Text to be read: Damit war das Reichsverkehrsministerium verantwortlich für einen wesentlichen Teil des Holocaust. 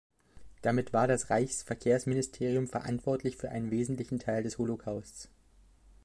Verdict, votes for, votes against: accepted, 2, 1